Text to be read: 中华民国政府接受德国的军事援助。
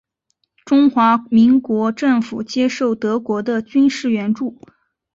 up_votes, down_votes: 7, 1